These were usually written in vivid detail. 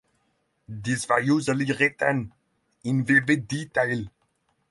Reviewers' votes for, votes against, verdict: 6, 3, accepted